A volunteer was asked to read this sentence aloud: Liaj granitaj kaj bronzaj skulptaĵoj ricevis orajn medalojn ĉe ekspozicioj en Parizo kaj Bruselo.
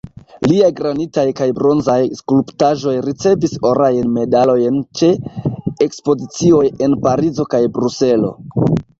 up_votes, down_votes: 2, 0